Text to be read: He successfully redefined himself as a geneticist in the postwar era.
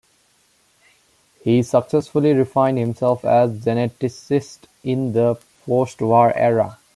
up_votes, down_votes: 2, 1